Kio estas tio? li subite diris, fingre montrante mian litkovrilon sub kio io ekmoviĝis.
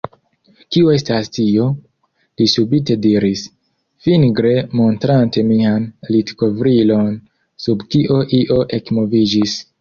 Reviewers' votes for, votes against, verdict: 2, 0, accepted